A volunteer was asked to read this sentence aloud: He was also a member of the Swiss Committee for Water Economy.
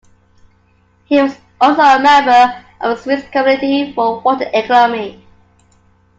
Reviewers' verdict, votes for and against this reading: accepted, 2, 0